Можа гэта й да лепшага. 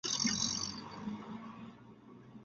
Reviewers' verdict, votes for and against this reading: rejected, 0, 2